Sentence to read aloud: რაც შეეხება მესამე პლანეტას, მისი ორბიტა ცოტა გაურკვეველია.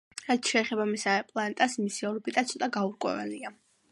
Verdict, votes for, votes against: accepted, 2, 1